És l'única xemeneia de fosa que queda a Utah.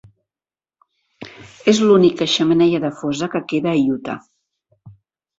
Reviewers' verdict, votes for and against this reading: accepted, 2, 0